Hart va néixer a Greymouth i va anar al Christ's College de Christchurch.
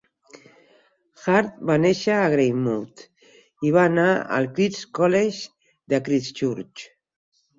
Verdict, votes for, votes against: accepted, 4, 0